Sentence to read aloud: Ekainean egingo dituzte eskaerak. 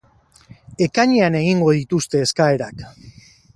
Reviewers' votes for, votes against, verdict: 2, 2, rejected